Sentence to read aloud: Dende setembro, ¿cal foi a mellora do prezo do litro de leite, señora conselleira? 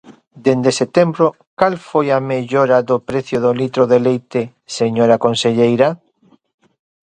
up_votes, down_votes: 0, 2